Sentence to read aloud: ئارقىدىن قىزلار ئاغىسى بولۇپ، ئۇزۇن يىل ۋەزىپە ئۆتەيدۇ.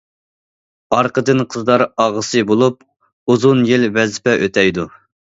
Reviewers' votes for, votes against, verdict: 2, 0, accepted